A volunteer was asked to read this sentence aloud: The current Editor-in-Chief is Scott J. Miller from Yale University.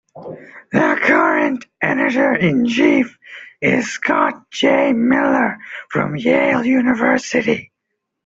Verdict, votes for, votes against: rejected, 1, 2